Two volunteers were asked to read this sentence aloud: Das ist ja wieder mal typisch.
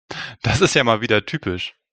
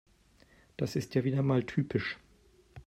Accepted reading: second